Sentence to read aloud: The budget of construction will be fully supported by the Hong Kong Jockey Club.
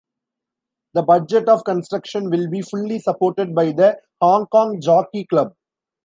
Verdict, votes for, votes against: accepted, 2, 0